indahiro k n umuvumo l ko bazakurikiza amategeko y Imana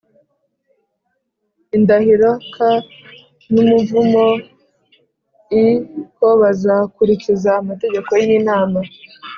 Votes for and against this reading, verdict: 3, 0, accepted